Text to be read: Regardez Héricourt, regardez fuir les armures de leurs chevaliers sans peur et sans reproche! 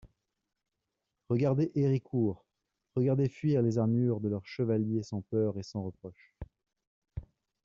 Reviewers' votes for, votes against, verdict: 2, 1, accepted